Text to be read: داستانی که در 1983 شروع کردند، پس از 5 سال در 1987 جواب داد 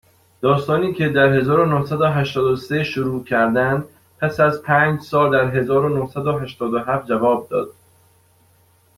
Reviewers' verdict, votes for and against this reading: rejected, 0, 2